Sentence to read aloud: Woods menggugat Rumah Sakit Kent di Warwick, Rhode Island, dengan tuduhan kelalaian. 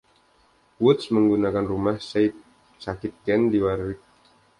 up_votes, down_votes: 0, 2